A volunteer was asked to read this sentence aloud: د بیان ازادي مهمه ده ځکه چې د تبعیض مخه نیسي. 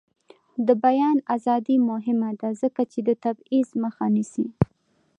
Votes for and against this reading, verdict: 2, 1, accepted